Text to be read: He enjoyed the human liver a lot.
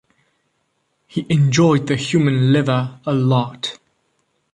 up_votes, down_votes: 2, 0